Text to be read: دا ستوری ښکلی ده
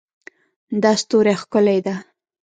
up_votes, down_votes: 1, 2